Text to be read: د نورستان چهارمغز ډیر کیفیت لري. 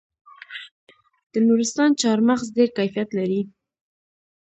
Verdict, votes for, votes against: accepted, 2, 0